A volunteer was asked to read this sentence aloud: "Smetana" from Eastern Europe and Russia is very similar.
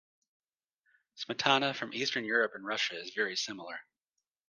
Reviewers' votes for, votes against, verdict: 2, 0, accepted